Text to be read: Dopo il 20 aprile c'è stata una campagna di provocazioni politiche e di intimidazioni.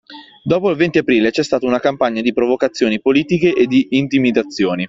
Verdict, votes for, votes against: rejected, 0, 2